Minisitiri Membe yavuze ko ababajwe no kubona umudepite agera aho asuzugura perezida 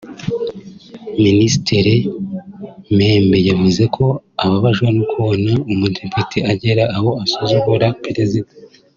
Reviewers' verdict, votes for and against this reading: accepted, 2, 0